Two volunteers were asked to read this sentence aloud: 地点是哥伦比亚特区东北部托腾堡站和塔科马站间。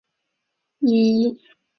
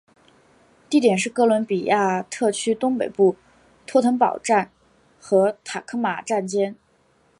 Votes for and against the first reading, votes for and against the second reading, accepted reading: 1, 2, 4, 0, second